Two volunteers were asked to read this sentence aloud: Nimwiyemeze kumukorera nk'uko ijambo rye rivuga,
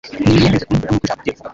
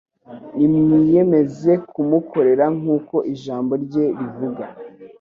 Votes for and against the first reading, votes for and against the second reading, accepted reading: 1, 2, 2, 1, second